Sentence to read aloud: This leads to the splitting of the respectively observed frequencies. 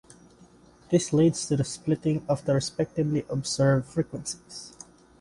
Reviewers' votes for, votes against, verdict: 2, 0, accepted